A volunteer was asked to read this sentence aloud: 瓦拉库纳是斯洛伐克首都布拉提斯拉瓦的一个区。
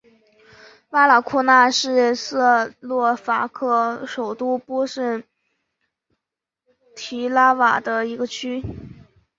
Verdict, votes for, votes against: rejected, 0, 3